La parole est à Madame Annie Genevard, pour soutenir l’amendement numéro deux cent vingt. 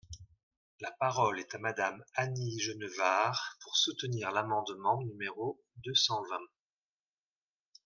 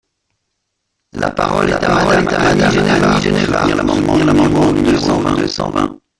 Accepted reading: first